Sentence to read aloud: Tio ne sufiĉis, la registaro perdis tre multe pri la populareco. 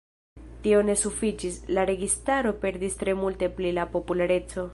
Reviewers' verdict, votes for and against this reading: rejected, 1, 3